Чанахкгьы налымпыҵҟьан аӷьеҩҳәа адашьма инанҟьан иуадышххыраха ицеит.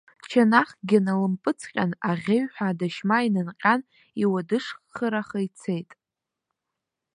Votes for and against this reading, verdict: 2, 0, accepted